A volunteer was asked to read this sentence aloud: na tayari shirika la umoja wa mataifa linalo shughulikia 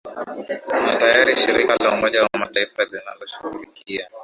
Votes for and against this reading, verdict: 2, 1, accepted